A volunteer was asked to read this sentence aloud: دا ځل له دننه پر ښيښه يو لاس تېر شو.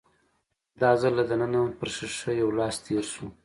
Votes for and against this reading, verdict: 2, 0, accepted